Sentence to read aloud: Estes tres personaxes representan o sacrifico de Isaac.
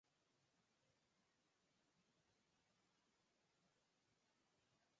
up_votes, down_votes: 0, 4